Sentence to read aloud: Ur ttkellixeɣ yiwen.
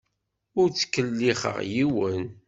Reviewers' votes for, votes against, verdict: 2, 0, accepted